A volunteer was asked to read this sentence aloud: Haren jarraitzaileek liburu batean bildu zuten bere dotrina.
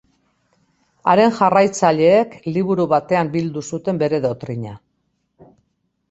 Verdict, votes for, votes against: accepted, 2, 0